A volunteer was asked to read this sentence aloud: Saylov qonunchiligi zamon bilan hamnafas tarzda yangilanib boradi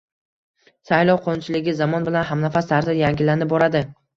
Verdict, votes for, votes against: accepted, 2, 0